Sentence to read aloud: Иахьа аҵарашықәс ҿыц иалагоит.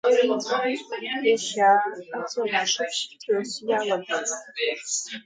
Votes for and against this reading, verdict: 0, 5, rejected